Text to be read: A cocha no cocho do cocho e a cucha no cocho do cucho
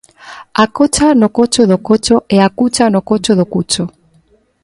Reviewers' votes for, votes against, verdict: 2, 0, accepted